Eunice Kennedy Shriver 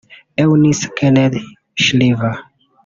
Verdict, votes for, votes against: rejected, 1, 2